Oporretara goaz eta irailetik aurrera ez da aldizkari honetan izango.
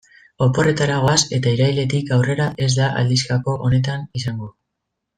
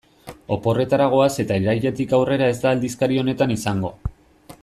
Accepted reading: second